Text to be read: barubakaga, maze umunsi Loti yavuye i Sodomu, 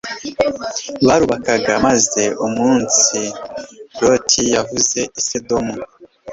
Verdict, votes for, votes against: rejected, 2, 3